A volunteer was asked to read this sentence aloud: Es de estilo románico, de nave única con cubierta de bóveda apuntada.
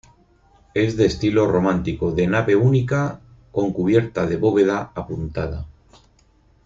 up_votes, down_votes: 0, 4